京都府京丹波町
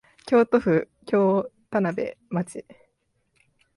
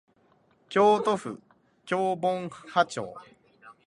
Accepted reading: first